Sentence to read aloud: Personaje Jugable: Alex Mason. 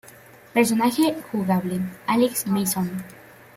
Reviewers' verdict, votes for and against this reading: accepted, 2, 1